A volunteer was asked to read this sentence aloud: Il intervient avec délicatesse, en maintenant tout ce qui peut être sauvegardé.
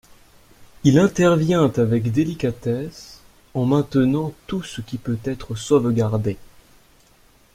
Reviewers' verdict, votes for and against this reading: accepted, 2, 0